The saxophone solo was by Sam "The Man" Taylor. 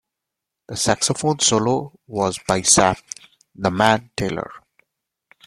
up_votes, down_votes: 1, 2